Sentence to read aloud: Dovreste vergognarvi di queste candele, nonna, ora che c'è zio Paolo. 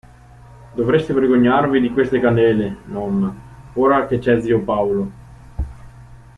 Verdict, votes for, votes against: accepted, 2, 0